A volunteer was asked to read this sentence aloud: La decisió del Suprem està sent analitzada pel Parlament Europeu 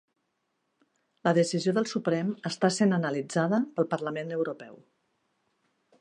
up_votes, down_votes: 4, 0